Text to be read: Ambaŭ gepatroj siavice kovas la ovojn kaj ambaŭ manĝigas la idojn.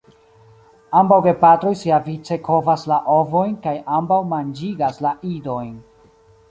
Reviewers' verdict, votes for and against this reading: accepted, 2, 0